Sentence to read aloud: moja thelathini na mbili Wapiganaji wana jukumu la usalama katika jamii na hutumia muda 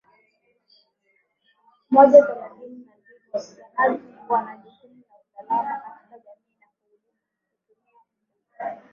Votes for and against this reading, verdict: 0, 2, rejected